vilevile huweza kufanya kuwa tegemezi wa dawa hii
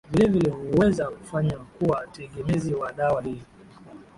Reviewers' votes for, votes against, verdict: 7, 5, accepted